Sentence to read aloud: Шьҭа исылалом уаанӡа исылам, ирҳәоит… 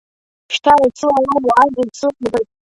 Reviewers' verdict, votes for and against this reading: rejected, 0, 2